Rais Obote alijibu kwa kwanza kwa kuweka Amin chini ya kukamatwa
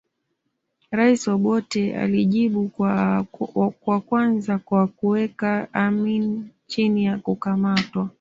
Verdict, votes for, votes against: accepted, 2, 1